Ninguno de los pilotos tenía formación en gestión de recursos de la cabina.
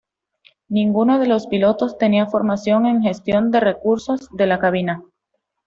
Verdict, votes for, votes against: accepted, 2, 0